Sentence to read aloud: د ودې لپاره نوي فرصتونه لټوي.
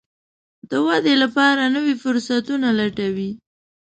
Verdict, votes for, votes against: accepted, 2, 0